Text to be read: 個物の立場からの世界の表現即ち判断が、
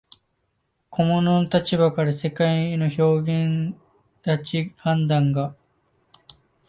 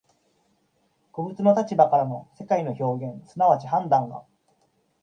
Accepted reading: second